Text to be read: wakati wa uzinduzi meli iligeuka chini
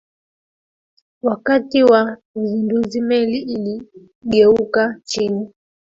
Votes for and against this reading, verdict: 1, 2, rejected